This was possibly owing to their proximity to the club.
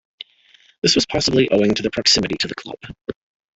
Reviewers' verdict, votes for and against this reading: accepted, 2, 0